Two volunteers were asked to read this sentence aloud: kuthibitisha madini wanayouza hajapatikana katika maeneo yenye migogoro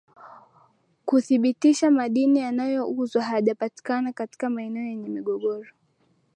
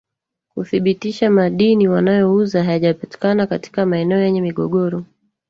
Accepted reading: first